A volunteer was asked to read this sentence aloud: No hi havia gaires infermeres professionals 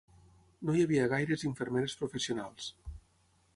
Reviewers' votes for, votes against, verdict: 6, 0, accepted